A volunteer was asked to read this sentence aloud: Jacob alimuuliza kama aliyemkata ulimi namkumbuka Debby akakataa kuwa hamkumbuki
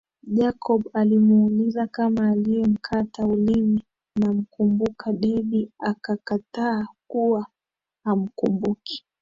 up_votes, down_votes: 6, 1